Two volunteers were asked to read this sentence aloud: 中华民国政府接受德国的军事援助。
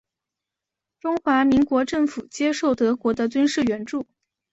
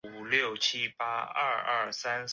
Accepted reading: first